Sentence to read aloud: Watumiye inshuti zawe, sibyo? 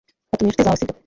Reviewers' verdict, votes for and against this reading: rejected, 0, 2